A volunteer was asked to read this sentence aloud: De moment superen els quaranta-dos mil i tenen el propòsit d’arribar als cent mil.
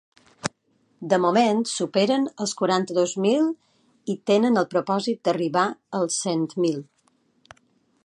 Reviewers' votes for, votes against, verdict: 1, 2, rejected